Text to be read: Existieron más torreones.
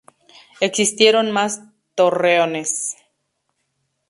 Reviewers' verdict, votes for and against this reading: rejected, 0, 2